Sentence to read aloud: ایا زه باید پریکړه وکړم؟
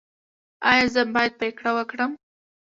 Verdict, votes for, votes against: rejected, 1, 2